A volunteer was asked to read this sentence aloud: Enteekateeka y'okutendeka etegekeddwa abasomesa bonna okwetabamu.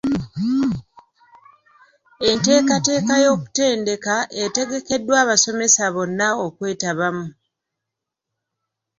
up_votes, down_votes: 2, 0